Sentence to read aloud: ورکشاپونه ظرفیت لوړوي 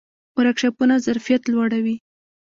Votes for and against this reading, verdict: 1, 2, rejected